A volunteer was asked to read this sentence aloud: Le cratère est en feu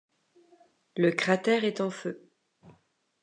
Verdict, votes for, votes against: accepted, 2, 0